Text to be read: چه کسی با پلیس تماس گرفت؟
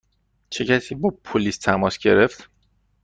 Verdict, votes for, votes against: accepted, 2, 0